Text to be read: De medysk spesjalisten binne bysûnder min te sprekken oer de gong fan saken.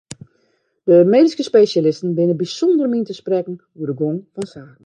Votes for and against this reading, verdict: 1, 2, rejected